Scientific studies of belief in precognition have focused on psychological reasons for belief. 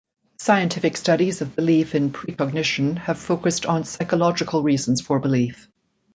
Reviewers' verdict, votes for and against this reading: accepted, 2, 0